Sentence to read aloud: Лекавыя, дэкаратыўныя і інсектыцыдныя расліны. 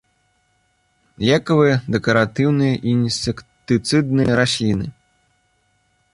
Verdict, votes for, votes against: accepted, 2, 1